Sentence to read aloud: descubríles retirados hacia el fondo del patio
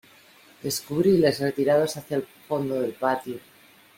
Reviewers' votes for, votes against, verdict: 2, 1, accepted